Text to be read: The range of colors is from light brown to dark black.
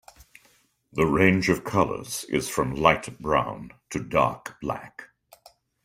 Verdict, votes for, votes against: accepted, 2, 0